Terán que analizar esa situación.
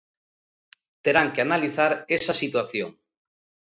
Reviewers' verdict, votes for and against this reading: accepted, 2, 0